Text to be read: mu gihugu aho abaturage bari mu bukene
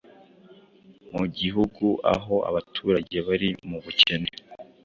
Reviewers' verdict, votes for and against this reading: accepted, 2, 0